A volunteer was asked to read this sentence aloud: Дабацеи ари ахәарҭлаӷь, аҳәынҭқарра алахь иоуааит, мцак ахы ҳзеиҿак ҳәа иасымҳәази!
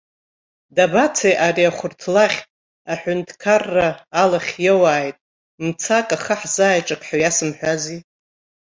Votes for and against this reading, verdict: 1, 2, rejected